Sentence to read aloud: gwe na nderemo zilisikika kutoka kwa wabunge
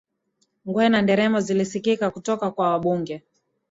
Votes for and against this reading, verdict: 9, 1, accepted